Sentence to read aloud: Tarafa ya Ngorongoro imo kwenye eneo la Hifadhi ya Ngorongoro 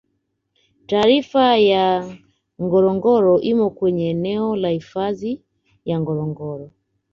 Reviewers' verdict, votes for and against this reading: accepted, 2, 1